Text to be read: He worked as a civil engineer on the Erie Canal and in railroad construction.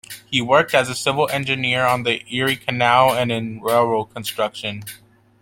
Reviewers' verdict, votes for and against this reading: accepted, 2, 0